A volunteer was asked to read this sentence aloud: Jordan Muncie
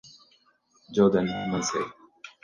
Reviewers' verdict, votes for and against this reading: rejected, 2, 4